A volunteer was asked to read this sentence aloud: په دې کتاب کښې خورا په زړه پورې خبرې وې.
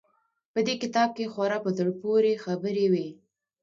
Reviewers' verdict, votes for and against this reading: accepted, 2, 0